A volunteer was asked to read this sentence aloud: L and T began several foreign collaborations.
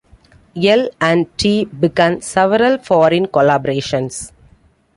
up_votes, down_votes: 1, 2